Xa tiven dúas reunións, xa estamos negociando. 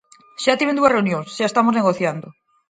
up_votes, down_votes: 4, 0